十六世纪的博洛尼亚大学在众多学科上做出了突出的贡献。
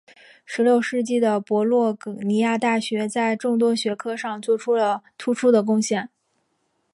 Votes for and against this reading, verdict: 2, 1, accepted